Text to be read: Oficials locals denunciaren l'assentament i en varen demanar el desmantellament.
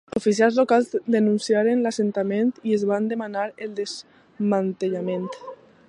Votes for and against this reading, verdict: 0, 2, rejected